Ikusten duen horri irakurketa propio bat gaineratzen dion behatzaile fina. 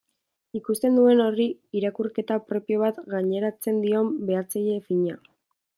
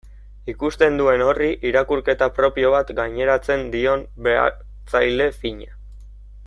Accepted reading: first